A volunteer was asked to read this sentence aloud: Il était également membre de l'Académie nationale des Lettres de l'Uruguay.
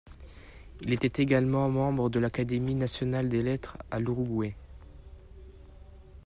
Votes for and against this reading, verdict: 0, 2, rejected